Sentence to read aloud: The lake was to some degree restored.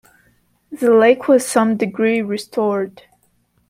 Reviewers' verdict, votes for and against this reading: rejected, 1, 2